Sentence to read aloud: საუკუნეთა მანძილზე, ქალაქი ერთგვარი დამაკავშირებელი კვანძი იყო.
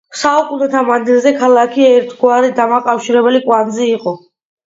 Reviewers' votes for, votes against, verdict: 2, 0, accepted